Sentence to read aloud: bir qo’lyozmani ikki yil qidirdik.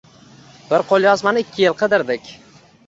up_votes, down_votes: 1, 2